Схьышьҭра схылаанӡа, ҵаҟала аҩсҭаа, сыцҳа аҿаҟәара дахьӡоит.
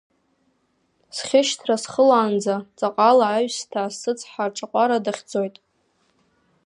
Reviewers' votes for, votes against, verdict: 3, 0, accepted